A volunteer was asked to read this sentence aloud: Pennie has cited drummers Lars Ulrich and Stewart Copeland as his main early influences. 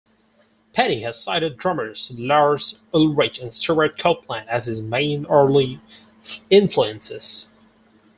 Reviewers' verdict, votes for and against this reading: rejected, 0, 6